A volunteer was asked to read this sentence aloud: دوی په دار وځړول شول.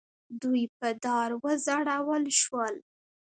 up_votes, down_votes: 1, 2